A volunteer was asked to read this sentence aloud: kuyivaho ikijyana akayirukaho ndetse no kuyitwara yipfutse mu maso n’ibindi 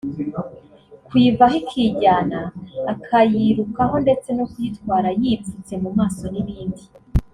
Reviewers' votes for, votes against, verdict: 1, 2, rejected